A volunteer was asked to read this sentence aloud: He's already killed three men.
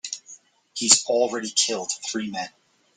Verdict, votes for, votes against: accepted, 2, 0